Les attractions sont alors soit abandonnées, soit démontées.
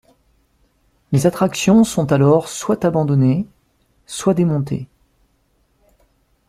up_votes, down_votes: 2, 0